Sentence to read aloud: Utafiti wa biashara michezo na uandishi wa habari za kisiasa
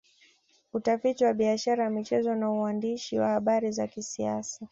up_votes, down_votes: 2, 0